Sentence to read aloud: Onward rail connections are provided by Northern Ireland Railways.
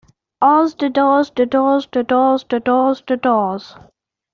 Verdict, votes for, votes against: rejected, 0, 2